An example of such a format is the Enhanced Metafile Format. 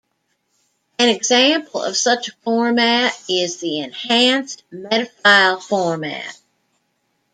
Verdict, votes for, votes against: accepted, 2, 1